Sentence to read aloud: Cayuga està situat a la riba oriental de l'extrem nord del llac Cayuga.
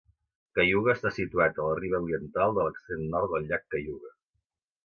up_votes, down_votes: 2, 0